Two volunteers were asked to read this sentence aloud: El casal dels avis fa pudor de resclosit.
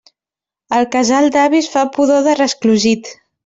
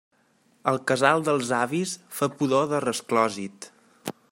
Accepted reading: second